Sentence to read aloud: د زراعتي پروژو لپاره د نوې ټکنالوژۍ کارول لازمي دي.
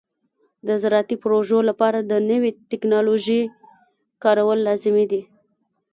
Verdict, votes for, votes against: rejected, 1, 2